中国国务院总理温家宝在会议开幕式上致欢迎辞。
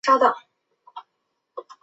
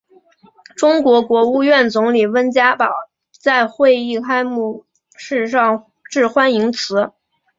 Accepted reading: second